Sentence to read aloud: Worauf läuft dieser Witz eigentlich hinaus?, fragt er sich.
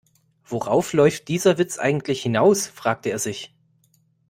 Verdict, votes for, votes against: rejected, 0, 2